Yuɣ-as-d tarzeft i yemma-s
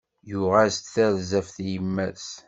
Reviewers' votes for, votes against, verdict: 2, 0, accepted